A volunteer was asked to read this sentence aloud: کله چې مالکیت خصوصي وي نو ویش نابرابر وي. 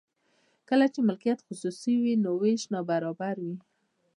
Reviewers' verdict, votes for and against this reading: accepted, 3, 1